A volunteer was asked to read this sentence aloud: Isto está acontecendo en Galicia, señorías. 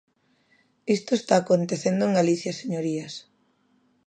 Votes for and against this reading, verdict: 2, 0, accepted